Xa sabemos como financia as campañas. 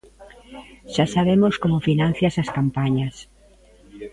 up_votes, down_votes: 0, 2